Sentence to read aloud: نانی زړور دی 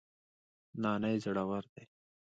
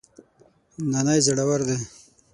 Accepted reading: first